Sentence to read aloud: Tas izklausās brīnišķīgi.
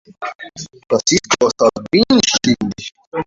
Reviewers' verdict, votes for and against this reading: rejected, 0, 2